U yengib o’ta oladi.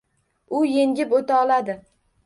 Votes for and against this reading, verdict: 1, 2, rejected